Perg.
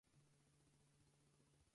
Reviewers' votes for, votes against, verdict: 0, 4, rejected